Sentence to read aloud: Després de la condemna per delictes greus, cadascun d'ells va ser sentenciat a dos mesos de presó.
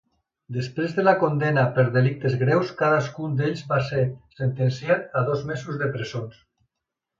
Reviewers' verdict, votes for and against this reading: rejected, 1, 2